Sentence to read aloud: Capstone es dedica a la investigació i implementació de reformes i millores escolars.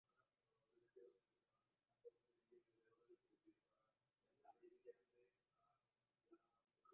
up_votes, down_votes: 0, 3